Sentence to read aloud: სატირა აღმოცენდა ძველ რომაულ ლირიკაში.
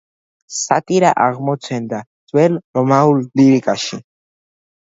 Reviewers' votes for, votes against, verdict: 2, 0, accepted